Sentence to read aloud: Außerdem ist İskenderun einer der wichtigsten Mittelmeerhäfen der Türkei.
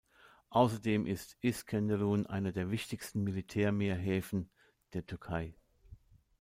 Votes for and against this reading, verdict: 0, 2, rejected